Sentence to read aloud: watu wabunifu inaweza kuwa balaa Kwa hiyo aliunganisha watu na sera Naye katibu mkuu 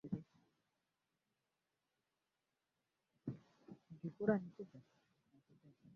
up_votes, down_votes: 0, 2